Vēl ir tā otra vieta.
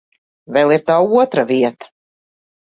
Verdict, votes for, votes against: accepted, 3, 0